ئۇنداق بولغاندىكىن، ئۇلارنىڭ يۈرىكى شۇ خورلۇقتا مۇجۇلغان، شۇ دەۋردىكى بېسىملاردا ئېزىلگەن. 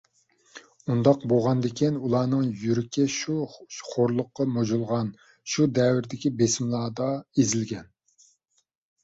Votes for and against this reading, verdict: 0, 2, rejected